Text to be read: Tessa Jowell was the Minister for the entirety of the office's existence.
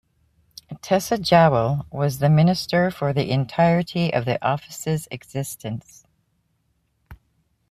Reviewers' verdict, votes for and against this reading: accepted, 2, 0